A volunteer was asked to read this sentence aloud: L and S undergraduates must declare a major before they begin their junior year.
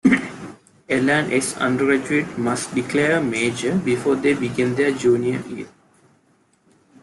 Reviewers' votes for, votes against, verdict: 0, 2, rejected